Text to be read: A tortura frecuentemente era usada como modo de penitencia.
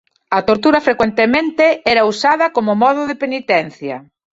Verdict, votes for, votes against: rejected, 0, 2